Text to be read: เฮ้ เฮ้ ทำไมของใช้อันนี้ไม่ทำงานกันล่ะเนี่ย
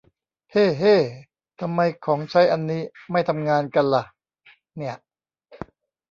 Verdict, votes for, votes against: rejected, 1, 2